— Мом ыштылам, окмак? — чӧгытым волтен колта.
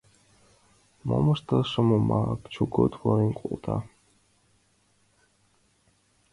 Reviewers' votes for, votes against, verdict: 0, 2, rejected